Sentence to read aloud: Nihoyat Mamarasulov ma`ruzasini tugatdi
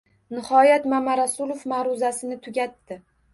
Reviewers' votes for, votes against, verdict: 1, 2, rejected